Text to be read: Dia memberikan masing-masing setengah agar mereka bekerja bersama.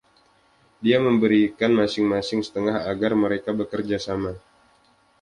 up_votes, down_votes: 1, 2